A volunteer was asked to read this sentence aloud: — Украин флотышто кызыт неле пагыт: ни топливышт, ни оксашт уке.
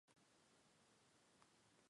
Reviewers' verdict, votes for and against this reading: rejected, 0, 2